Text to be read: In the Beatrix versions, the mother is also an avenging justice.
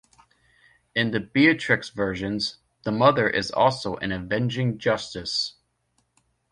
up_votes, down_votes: 2, 0